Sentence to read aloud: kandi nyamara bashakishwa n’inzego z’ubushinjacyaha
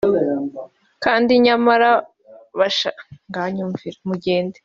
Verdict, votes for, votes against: rejected, 0, 2